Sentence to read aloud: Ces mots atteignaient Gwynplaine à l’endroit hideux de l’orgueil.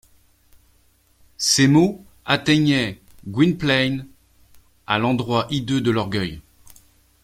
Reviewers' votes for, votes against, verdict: 0, 2, rejected